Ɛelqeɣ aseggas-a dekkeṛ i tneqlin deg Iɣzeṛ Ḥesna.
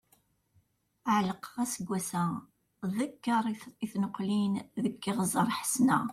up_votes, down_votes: 0, 2